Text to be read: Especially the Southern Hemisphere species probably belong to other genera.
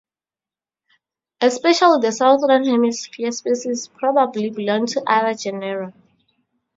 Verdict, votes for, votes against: accepted, 2, 0